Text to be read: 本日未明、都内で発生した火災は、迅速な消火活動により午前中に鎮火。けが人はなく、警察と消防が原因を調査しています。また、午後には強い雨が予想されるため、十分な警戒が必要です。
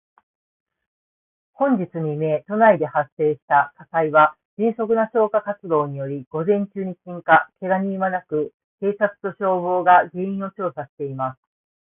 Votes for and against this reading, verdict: 1, 2, rejected